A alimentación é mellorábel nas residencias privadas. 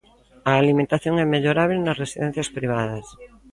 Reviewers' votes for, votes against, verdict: 1, 2, rejected